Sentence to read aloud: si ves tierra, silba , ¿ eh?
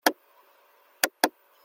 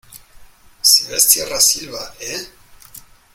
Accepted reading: second